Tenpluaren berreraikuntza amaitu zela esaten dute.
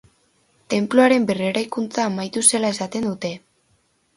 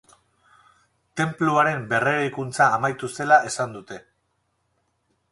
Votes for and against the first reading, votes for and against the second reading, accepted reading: 4, 0, 2, 2, first